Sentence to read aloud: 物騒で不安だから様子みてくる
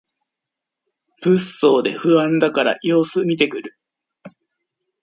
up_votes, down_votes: 1, 2